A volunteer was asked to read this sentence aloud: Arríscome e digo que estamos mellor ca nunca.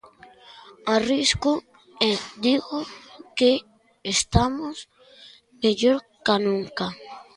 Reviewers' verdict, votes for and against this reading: rejected, 0, 2